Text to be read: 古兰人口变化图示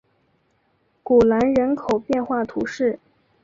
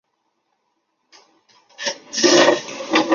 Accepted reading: first